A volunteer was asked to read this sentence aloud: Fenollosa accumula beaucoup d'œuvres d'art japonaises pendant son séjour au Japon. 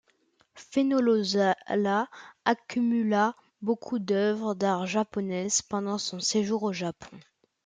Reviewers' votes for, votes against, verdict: 0, 2, rejected